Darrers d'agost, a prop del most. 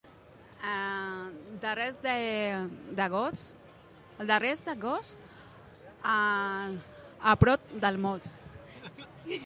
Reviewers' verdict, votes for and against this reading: rejected, 0, 2